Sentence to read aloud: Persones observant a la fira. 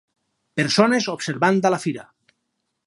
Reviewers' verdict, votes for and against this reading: accepted, 4, 0